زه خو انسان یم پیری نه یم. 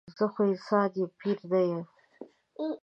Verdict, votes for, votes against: accepted, 2, 0